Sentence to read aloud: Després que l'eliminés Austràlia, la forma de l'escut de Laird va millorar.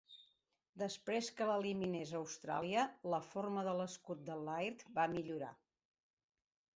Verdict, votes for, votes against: accepted, 3, 0